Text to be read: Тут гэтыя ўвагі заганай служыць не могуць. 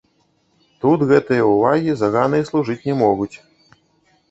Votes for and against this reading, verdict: 1, 2, rejected